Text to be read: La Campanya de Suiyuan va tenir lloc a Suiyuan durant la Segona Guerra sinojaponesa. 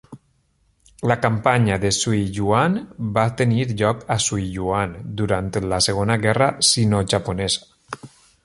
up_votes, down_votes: 2, 0